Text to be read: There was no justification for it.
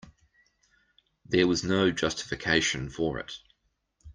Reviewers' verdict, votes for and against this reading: accepted, 2, 0